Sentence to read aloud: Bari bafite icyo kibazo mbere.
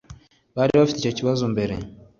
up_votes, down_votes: 2, 0